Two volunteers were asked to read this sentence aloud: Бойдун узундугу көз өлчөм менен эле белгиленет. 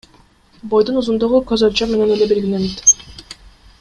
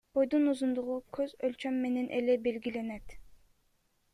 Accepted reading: first